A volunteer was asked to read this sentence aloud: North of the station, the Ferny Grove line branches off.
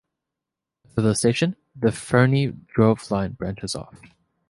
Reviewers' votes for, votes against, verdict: 2, 1, accepted